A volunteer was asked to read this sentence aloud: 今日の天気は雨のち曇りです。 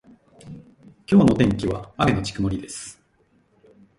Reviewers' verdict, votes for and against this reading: rejected, 0, 2